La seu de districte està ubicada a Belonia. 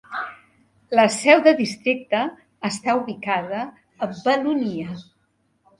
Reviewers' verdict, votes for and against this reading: rejected, 1, 2